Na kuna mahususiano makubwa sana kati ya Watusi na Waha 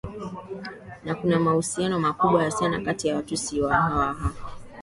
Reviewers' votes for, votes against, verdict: 2, 0, accepted